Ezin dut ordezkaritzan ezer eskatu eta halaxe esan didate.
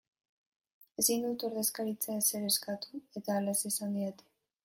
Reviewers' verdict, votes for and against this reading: rejected, 1, 2